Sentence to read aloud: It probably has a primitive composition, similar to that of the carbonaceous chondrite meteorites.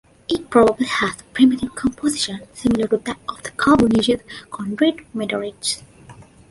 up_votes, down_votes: 2, 1